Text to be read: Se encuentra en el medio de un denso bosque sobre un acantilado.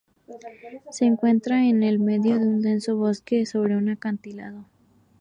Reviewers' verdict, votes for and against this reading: accepted, 4, 0